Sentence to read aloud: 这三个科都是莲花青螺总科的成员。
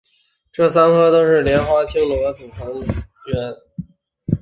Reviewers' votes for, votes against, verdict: 0, 2, rejected